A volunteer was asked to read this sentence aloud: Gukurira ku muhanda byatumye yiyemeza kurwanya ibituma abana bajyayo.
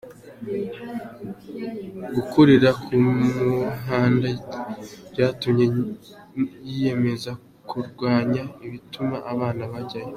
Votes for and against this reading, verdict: 2, 3, rejected